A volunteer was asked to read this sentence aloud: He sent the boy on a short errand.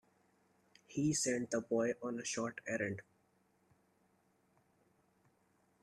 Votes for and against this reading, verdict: 2, 0, accepted